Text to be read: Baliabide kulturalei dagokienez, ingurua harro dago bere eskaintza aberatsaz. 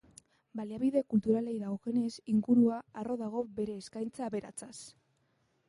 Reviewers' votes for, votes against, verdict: 1, 2, rejected